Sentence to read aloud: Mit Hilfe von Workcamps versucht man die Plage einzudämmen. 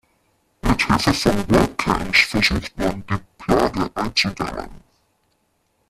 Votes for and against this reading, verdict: 0, 2, rejected